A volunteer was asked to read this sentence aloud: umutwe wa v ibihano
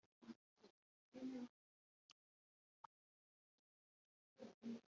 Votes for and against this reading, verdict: 1, 2, rejected